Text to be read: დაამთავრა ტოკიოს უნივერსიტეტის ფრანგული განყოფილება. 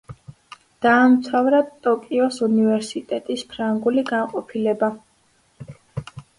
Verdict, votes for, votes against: accepted, 2, 0